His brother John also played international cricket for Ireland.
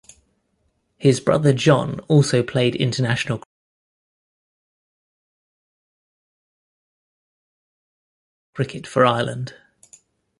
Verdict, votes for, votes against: rejected, 1, 2